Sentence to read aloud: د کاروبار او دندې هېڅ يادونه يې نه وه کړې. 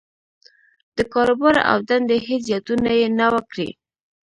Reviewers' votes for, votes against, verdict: 1, 2, rejected